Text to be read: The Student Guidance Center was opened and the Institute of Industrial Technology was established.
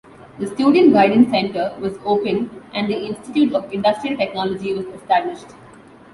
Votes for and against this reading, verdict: 2, 0, accepted